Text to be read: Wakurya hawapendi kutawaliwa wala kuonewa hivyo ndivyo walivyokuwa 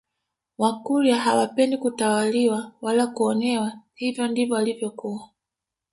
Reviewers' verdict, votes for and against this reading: rejected, 1, 2